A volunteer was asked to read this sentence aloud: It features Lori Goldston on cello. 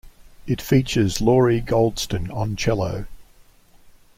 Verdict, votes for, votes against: accepted, 2, 0